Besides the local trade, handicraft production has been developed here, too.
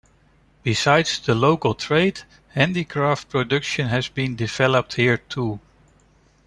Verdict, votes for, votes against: accepted, 2, 0